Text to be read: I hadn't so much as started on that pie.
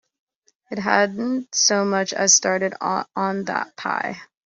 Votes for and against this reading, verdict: 1, 2, rejected